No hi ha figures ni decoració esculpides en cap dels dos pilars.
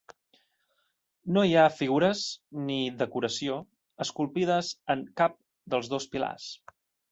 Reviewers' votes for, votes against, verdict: 4, 0, accepted